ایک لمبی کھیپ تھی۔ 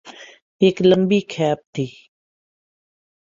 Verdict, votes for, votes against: accepted, 11, 0